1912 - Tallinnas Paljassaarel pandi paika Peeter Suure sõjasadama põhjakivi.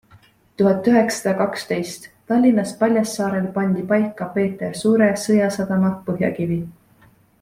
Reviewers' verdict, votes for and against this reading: rejected, 0, 2